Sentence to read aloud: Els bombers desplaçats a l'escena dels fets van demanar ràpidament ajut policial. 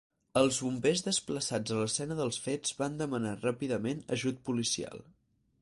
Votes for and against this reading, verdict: 4, 0, accepted